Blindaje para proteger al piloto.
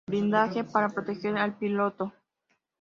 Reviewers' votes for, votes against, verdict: 3, 0, accepted